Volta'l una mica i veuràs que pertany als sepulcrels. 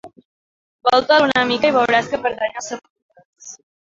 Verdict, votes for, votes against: rejected, 0, 2